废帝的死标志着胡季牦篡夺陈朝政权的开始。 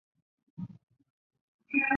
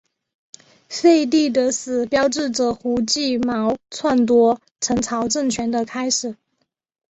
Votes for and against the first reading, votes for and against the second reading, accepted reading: 0, 2, 2, 0, second